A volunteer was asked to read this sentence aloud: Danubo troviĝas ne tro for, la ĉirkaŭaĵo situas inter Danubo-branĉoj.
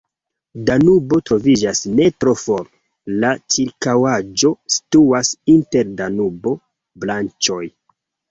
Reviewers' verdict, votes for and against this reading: accepted, 2, 1